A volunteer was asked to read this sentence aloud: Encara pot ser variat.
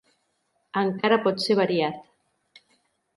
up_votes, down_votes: 2, 0